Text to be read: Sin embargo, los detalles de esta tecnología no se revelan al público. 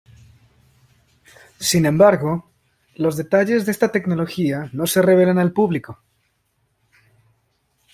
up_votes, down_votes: 2, 0